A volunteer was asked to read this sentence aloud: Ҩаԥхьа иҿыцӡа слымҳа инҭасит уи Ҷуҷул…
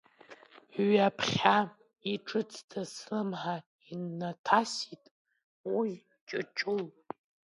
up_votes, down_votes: 0, 2